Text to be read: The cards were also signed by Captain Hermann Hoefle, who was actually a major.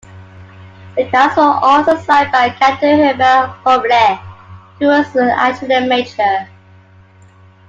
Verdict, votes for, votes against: accepted, 2, 1